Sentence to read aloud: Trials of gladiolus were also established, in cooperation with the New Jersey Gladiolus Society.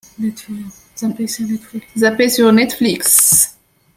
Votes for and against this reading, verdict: 0, 2, rejected